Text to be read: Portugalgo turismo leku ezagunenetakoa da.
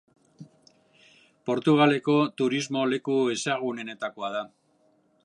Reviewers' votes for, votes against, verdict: 0, 2, rejected